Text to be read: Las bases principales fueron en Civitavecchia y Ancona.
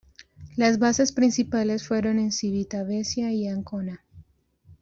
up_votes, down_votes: 1, 2